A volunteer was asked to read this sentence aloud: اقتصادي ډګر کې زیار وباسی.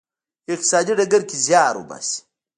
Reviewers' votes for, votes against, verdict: 0, 2, rejected